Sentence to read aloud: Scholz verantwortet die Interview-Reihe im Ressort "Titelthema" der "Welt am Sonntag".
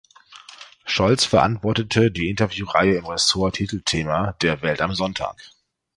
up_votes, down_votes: 1, 2